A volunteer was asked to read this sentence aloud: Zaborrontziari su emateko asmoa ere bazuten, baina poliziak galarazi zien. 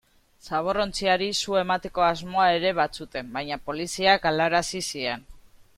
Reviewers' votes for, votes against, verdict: 2, 1, accepted